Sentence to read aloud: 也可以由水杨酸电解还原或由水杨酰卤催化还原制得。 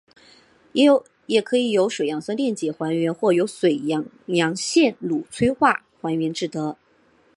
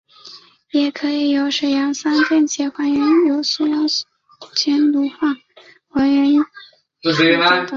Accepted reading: first